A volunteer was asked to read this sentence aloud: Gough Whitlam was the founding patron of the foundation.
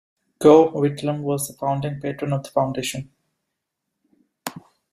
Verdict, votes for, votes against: rejected, 1, 2